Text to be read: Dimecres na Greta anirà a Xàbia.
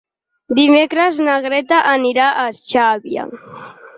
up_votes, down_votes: 6, 2